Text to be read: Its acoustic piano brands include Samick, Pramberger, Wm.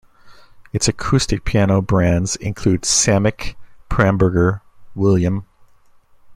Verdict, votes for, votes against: rejected, 1, 2